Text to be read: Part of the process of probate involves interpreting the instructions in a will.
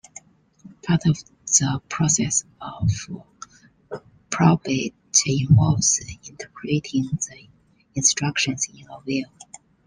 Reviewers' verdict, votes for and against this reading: rejected, 1, 2